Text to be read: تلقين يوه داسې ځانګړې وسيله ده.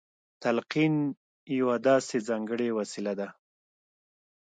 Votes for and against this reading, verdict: 2, 0, accepted